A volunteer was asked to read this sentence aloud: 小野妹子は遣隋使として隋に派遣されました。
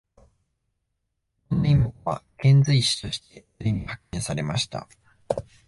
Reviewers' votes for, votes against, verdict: 0, 2, rejected